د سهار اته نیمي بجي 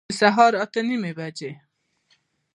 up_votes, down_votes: 2, 0